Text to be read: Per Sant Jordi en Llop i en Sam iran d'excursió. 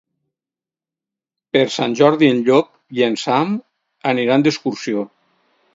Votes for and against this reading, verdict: 2, 4, rejected